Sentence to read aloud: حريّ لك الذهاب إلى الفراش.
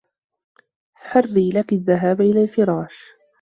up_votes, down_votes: 1, 2